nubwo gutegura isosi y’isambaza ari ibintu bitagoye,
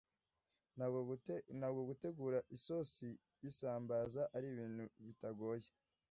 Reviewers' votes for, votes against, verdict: 0, 2, rejected